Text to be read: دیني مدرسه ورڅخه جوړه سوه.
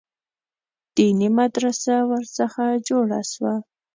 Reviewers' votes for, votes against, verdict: 2, 0, accepted